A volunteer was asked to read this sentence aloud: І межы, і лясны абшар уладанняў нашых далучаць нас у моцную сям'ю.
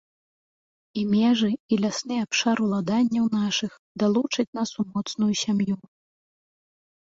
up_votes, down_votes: 2, 0